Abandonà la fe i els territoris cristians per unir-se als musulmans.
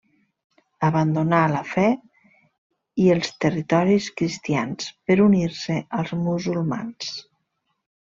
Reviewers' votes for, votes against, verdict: 3, 0, accepted